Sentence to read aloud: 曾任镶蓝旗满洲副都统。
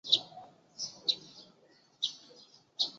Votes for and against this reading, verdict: 0, 3, rejected